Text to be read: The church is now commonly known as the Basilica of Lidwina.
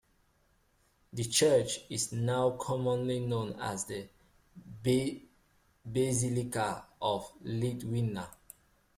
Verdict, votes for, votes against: rejected, 0, 2